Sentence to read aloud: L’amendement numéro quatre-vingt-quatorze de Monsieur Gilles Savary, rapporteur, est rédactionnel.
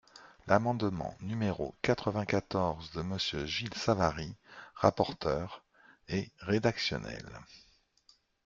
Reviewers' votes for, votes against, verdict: 2, 0, accepted